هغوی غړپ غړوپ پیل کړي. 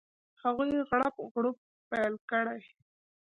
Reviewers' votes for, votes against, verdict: 2, 0, accepted